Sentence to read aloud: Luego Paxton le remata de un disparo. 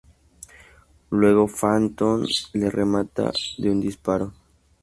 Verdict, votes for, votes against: rejected, 0, 2